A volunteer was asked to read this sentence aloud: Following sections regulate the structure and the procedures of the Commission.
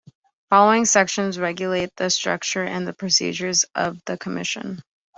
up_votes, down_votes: 2, 0